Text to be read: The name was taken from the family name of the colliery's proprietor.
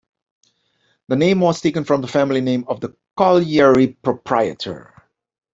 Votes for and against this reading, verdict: 1, 2, rejected